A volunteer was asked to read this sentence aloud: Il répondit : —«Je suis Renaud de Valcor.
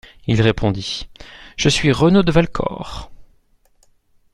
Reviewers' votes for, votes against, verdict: 2, 0, accepted